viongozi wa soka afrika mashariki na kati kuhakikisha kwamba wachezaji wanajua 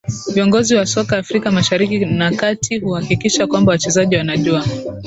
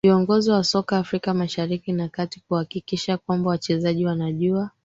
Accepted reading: first